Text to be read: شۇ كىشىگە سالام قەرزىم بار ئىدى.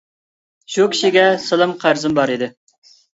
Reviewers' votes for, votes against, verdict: 2, 0, accepted